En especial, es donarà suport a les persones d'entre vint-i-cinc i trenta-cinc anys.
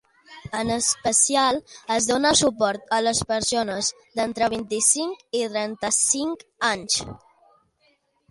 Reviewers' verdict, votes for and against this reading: rejected, 0, 2